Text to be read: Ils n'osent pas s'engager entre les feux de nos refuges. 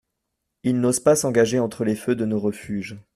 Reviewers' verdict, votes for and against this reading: accepted, 2, 0